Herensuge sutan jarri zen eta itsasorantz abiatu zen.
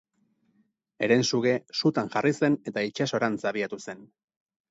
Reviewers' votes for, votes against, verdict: 4, 0, accepted